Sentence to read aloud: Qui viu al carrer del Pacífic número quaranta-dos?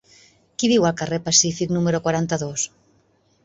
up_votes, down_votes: 1, 3